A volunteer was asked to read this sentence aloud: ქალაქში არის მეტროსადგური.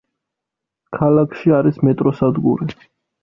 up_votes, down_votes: 2, 0